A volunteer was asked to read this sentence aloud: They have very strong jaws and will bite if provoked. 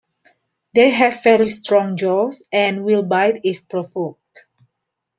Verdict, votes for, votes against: accepted, 2, 0